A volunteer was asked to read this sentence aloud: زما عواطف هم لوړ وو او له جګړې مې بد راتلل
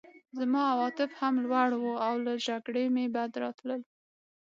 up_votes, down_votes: 6, 0